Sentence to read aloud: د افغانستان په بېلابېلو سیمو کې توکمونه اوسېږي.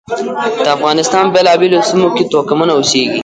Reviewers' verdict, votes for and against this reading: rejected, 1, 2